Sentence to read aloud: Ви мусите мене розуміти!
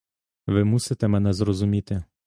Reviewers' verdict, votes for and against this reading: rejected, 1, 2